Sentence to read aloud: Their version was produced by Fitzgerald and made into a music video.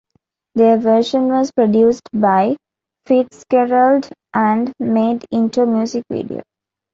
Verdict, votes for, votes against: rejected, 1, 2